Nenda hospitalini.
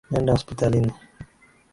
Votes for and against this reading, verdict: 3, 0, accepted